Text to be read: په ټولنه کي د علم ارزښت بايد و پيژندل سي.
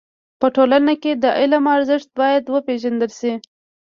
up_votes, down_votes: 2, 0